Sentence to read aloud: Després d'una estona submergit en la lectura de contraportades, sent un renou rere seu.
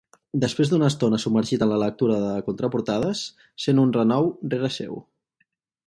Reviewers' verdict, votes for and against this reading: accepted, 2, 0